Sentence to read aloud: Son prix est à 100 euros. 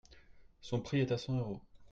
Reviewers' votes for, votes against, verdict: 0, 2, rejected